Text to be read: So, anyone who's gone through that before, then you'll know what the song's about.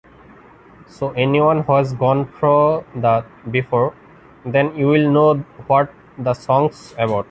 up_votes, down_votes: 1, 2